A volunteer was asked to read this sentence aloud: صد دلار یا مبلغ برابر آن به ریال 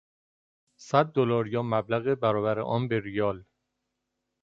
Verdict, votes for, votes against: accepted, 2, 0